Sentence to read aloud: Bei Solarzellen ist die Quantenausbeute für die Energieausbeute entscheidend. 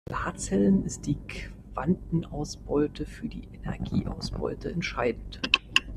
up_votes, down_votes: 0, 2